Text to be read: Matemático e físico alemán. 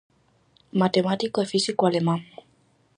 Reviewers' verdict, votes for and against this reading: accepted, 4, 0